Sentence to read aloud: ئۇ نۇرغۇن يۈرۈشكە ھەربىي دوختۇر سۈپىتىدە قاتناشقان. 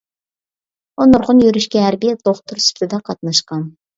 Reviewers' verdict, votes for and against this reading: rejected, 0, 2